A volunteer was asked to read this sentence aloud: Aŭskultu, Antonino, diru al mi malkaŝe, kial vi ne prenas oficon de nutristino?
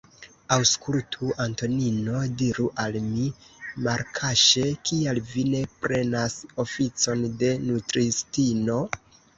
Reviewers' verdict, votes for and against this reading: rejected, 1, 2